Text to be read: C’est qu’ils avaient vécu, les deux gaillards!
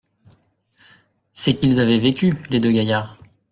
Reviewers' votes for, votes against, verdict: 2, 0, accepted